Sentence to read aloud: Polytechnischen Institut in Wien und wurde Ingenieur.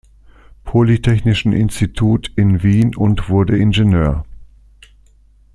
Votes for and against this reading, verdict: 2, 0, accepted